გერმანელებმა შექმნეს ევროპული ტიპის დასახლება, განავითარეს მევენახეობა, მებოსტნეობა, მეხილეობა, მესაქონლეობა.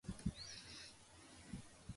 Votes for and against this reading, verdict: 1, 2, rejected